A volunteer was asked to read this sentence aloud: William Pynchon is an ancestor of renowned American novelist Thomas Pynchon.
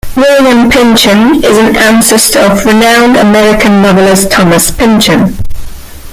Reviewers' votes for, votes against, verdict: 0, 2, rejected